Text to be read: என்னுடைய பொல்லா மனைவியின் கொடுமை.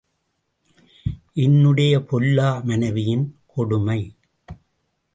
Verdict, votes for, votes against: rejected, 0, 2